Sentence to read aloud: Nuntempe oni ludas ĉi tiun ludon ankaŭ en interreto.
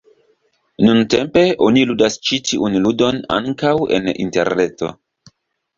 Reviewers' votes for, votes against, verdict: 2, 0, accepted